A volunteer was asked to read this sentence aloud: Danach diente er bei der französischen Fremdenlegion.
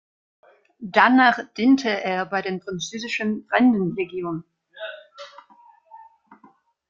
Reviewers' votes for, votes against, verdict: 0, 2, rejected